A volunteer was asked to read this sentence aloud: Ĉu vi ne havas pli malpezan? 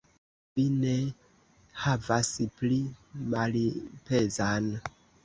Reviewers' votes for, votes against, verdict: 2, 0, accepted